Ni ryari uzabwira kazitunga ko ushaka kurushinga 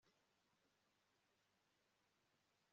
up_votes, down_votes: 1, 2